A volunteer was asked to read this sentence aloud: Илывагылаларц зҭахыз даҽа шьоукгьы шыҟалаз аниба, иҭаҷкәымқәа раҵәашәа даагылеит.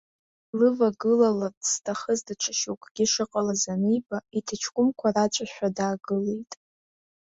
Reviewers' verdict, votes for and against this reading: rejected, 0, 2